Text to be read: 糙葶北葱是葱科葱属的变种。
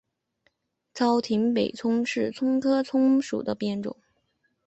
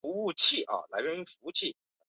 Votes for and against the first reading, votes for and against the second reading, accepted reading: 2, 0, 0, 3, first